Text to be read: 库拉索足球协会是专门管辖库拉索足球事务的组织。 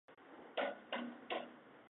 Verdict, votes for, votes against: rejected, 0, 2